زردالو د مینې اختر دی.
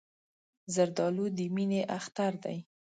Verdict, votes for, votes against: accepted, 2, 0